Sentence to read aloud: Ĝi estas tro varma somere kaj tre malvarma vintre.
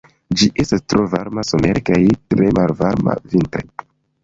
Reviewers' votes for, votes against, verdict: 1, 2, rejected